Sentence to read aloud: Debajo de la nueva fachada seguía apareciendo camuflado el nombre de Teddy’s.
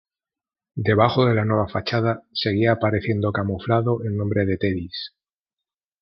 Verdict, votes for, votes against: accepted, 3, 1